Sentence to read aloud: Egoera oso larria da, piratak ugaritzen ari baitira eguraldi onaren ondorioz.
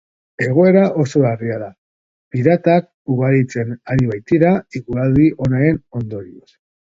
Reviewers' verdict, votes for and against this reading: accepted, 2, 0